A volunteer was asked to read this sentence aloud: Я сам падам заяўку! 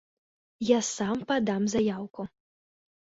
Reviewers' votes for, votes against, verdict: 3, 0, accepted